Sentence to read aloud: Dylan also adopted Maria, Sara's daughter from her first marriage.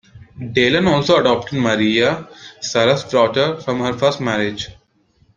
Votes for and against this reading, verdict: 2, 0, accepted